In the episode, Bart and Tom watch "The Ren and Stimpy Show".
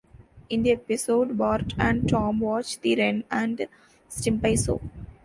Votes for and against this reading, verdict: 1, 2, rejected